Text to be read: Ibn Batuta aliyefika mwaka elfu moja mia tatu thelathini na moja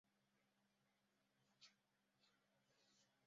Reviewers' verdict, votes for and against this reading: rejected, 0, 2